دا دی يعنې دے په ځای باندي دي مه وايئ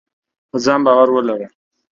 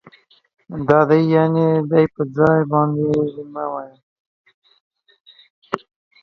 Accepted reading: second